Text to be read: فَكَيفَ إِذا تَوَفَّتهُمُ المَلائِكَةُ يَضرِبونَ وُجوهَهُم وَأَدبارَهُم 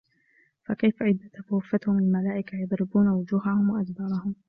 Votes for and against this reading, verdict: 2, 1, accepted